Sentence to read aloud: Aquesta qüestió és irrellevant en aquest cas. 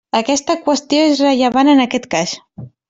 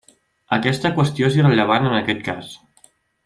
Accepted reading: second